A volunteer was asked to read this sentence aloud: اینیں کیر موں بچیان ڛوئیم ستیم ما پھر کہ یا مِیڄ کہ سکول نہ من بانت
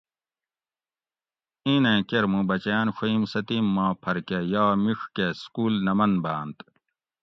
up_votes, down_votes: 2, 0